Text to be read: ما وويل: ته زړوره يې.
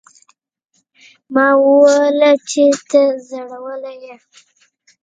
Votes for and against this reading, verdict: 1, 2, rejected